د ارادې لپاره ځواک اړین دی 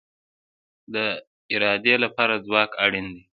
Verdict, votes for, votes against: accepted, 2, 0